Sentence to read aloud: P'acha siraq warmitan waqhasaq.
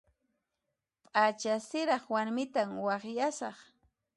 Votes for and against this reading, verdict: 1, 2, rejected